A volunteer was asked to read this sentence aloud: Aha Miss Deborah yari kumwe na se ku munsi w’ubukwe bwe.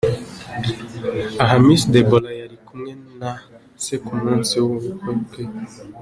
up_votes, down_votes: 2, 1